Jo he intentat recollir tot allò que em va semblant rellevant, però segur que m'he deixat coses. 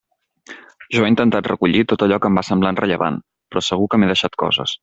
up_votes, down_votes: 2, 0